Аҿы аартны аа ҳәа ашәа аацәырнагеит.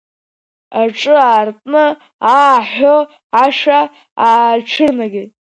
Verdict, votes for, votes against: accepted, 2, 0